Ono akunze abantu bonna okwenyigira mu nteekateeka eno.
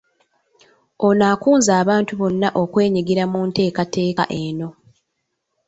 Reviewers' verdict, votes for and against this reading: accepted, 2, 0